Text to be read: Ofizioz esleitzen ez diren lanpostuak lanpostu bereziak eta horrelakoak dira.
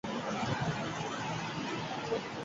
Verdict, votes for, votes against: rejected, 0, 4